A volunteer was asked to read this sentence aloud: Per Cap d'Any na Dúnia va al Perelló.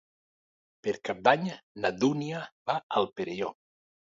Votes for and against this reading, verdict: 2, 0, accepted